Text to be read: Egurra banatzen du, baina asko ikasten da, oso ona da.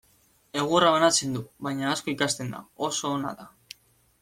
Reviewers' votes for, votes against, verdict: 2, 0, accepted